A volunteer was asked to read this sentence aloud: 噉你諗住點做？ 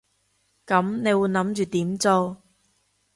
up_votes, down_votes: 0, 2